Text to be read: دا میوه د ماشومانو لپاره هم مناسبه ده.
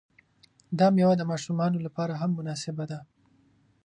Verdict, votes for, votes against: accepted, 2, 0